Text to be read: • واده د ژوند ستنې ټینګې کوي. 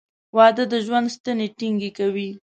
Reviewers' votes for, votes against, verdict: 2, 0, accepted